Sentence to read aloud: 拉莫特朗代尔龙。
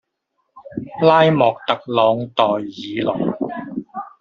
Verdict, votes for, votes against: rejected, 1, 2